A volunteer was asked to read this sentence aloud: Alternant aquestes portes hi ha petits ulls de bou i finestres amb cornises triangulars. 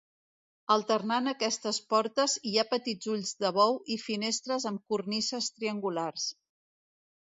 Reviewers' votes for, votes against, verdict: 3, 0, accepted